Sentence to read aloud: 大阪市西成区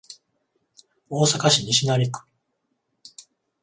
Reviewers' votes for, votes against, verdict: 14, 0, accepted